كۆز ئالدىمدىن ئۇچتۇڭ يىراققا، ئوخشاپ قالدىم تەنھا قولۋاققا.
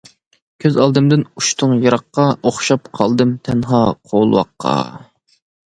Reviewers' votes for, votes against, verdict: 2, 0, accepted